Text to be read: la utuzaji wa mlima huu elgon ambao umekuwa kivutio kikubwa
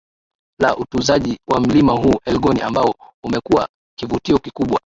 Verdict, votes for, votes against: accepted, 2, 1